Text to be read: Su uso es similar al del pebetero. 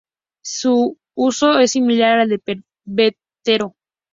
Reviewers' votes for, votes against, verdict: 2, 0, accepted